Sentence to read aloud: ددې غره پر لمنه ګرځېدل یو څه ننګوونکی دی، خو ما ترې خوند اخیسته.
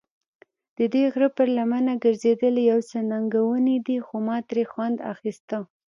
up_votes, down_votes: 1, 2